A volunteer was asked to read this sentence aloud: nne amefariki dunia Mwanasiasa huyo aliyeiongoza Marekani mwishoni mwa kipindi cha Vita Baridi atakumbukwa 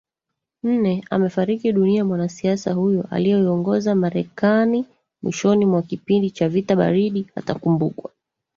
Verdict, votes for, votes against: rejected, 1, 2